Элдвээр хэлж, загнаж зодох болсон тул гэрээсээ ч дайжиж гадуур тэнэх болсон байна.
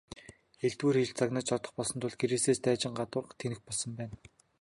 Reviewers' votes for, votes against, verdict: 1, 2, rejected